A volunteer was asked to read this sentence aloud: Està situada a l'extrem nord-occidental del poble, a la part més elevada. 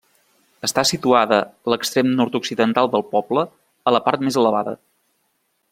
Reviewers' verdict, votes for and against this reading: rejected, 1, 2